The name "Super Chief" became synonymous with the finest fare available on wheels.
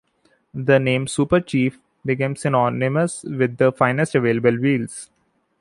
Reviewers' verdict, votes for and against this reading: rejected, 0, 2